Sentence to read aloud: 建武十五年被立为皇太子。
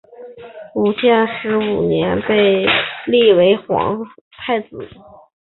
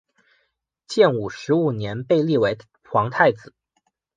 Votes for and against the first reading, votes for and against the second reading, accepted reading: 0, 2, 2, 0, second